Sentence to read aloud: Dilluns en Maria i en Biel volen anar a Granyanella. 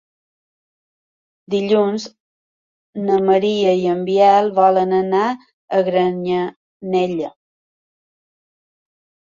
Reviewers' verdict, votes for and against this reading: accepted, 2, 1